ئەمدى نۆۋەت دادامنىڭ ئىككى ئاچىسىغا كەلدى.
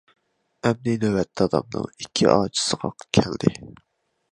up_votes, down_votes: 2, 1